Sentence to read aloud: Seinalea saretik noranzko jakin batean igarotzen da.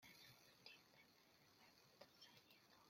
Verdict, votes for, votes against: rejected, 0, 2